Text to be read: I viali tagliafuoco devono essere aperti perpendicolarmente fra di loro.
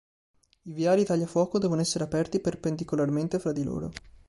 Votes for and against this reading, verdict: 3, 0, accepted